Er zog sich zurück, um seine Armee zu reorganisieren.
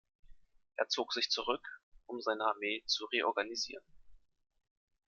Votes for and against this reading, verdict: 2, 0, accepted